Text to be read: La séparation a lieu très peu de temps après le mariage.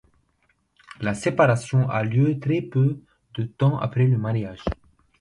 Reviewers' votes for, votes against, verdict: 2, 0, accepted